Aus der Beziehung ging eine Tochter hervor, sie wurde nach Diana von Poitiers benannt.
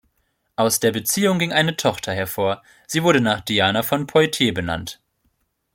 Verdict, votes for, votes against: accepted, 2, 0